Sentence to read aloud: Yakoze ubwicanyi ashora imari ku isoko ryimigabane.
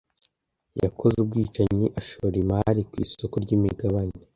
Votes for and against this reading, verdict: 2, 0, accepted